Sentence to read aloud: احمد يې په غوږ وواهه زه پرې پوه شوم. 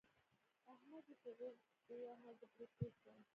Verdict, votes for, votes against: rejected, 1, 2